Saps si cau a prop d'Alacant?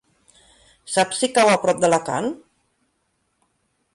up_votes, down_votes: 2, 1